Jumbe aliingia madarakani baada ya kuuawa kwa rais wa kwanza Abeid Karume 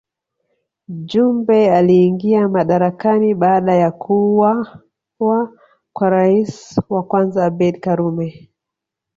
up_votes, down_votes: 1, 2